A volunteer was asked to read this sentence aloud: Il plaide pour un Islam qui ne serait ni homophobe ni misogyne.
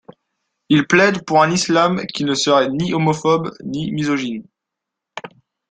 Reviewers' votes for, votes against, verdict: 2, 0, accepted